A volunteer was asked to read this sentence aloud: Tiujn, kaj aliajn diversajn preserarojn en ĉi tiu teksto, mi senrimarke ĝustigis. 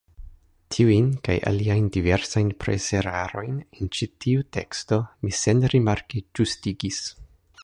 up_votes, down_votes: 2, 0